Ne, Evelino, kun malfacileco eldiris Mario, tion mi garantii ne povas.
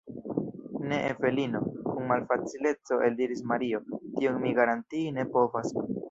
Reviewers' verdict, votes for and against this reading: rejected, 1, 2